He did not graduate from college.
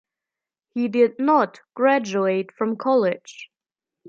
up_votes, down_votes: 2, 1